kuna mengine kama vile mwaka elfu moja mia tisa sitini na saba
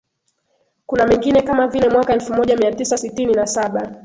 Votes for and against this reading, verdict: 0, 2, rejected